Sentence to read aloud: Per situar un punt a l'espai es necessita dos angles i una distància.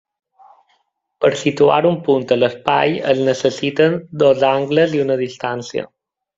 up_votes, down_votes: 2, 1